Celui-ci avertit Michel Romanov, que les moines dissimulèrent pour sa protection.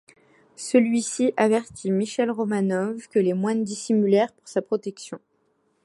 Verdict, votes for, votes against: accepted, 3, 0